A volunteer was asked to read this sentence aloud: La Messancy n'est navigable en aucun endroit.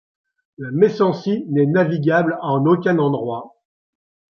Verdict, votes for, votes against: accepted, 2, 0